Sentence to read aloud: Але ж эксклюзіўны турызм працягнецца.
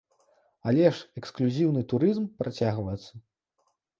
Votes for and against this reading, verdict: 0, 2, rejected